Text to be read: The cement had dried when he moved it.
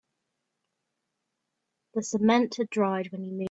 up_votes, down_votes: 0, 2